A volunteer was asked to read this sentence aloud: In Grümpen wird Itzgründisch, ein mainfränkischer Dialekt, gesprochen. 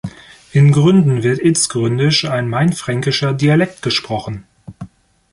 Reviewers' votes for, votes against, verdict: 1, 2, rejected